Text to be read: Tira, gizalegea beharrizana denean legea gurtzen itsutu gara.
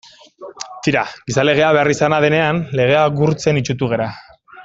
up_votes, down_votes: 2, 0